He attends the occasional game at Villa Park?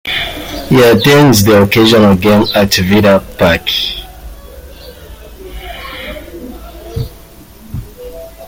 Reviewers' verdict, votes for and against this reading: rejected, 1, 2